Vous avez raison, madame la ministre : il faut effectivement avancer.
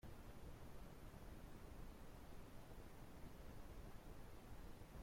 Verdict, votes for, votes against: rejected, 0, 2